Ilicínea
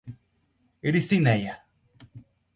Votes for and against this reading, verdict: 0, 4, rejected